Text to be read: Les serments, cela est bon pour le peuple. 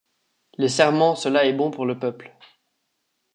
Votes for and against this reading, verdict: 2, 0, accepted